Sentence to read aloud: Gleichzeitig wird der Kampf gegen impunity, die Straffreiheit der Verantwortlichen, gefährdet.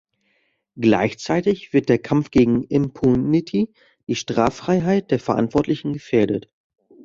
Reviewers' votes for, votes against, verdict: 2, 0, accepted